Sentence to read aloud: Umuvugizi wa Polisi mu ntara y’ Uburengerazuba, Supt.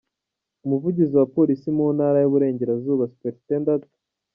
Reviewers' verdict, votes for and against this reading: accepted, 3, 0